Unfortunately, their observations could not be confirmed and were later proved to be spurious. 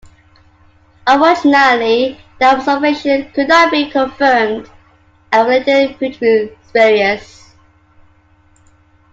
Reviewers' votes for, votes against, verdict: 2, 1, accepted